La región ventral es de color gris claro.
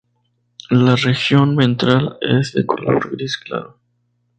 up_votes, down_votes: 2, 0